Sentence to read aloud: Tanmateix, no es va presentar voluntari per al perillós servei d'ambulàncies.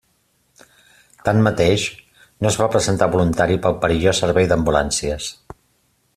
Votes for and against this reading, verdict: 2, 0, accepted